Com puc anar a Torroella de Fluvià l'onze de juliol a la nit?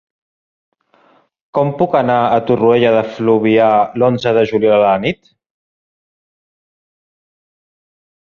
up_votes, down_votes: 3, 0